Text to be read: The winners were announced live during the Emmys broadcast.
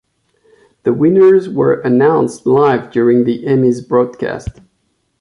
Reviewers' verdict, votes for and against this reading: accepted, 2, 0